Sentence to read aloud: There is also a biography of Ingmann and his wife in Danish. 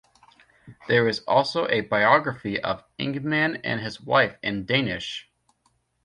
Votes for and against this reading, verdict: 2, 0, accepted